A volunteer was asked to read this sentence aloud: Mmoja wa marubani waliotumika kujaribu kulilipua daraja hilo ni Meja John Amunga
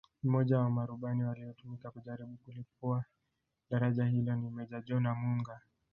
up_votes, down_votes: 0, 2